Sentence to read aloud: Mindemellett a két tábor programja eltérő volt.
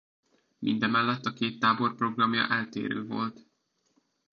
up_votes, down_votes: 2, 1